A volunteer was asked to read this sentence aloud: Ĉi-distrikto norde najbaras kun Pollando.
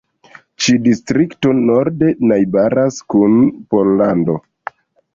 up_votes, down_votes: 3, 1